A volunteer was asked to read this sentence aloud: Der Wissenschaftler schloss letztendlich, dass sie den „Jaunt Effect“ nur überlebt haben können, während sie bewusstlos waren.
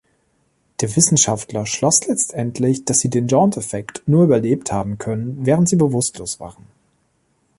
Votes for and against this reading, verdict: 2, 0, accepted